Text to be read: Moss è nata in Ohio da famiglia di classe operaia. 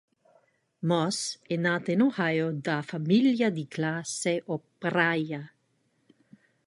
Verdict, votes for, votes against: rejected, 0, 2